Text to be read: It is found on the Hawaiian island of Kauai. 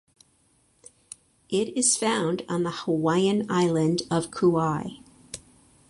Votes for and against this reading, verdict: 2, 2, rejected